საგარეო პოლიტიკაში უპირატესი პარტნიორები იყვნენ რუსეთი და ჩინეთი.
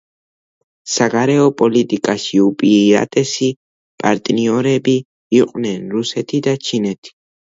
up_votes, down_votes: 1, 2